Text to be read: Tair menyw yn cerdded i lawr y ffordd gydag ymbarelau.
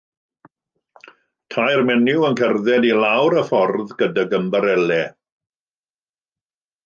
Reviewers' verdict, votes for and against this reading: rejected, 1, 2